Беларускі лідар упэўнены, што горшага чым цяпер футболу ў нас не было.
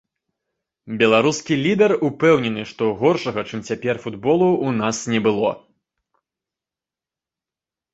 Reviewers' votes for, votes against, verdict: 2, 0, accepted